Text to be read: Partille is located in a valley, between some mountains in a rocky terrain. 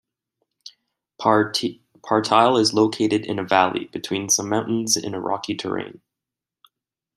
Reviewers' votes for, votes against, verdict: 0, 2, rejected